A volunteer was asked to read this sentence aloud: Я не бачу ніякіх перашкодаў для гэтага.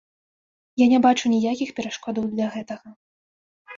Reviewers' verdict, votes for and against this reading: accepted, 2, 0